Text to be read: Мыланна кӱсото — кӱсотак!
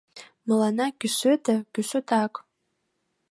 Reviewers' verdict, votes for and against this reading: rejected, 0, 2